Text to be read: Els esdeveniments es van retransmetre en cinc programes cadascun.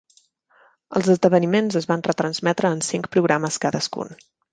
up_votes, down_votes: 2, 0